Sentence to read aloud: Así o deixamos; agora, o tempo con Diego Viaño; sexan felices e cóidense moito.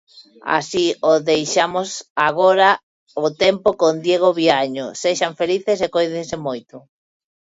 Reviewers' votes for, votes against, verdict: 1, 2, rejected